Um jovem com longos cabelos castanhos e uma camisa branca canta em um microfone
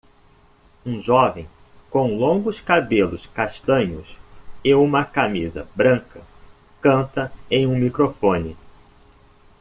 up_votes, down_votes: 2, 0